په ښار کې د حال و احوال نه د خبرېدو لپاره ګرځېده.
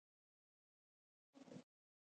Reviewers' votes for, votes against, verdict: 0, 2, rejected